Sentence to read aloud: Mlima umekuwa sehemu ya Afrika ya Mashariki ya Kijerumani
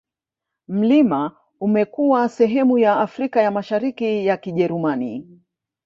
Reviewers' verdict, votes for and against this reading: rejected, 1, 2